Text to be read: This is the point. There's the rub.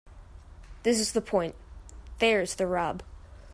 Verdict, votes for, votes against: accepted, 2, 0